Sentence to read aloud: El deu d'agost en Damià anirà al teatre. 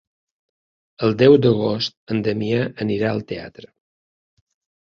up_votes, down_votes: 3, 0